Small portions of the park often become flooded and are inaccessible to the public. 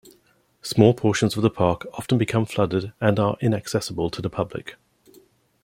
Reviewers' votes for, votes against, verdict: 2, 0, accepted